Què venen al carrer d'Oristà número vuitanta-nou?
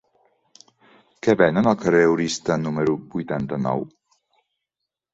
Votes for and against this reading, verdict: 1, 2, rejected